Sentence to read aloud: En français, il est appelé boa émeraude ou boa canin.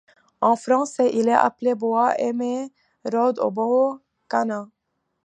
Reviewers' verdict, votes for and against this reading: rejected, 0, 2